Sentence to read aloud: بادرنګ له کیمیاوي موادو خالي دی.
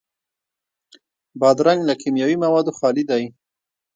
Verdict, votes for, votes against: rejected, 1, 3